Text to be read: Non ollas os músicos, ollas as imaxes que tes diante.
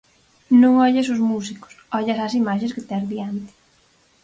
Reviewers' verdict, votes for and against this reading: accepted, 4, 0